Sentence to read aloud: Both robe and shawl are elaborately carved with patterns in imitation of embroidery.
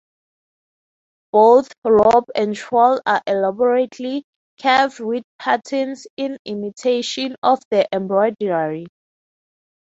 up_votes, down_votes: 3, 6